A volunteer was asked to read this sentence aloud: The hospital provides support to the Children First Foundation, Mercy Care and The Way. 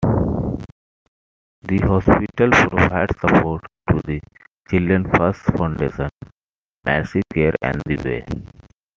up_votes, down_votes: 2, 1